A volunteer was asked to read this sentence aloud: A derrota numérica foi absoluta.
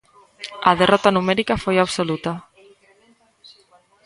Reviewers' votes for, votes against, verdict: 1, 2, rejected